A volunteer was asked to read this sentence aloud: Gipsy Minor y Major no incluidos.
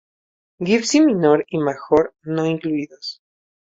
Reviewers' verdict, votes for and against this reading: rejected, 0, 2